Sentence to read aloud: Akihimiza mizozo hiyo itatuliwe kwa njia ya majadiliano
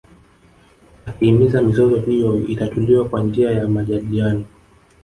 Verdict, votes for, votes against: rejected, 0, 2